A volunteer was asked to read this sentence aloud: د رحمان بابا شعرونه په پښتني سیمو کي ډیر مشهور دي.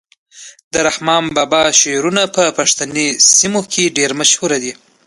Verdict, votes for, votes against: accepted, 2, 0